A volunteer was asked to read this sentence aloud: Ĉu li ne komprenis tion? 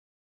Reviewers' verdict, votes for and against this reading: accepted, 2, 1